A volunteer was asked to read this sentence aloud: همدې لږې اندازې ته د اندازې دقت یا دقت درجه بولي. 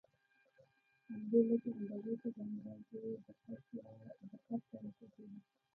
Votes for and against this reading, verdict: 0, 2, rejected